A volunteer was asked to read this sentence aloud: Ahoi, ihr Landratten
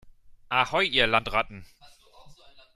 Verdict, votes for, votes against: accepted, 2, 0